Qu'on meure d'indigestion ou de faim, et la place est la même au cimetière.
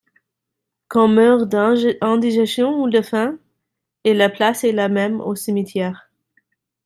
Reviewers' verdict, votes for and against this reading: rejected, 1, 2